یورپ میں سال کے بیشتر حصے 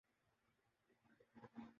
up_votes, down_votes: 0, 2